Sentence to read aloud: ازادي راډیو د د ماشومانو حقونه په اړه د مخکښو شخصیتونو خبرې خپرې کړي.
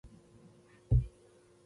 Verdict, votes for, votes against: rejected, 1, 2